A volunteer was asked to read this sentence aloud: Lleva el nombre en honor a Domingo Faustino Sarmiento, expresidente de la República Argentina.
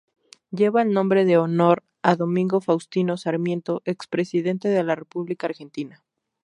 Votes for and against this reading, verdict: 2, 2, rejected